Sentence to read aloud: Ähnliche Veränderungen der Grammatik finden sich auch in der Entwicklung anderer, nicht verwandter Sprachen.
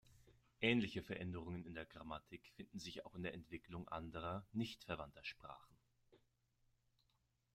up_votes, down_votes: 1, 2